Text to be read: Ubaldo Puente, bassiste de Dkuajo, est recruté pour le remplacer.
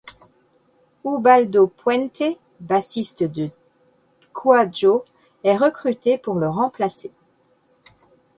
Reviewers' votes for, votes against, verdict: 1, 2, rejected